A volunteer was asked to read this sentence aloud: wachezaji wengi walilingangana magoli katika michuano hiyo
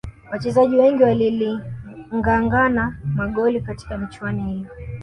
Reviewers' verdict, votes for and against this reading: rejected, 1, 2